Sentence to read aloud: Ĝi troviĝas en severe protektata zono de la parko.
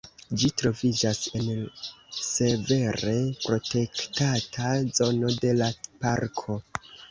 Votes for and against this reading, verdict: 1, 2, rejected